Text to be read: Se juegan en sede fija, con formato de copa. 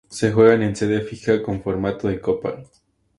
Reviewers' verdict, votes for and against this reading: accepted, 2, 0